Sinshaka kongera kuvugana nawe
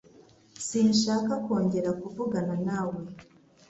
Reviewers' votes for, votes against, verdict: 2, 0, accepted